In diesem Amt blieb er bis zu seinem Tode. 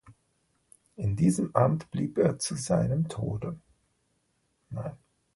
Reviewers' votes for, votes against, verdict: 0, 2, rejected